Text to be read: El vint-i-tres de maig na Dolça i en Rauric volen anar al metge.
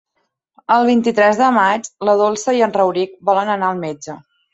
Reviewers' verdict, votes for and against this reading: accepted, 2, 1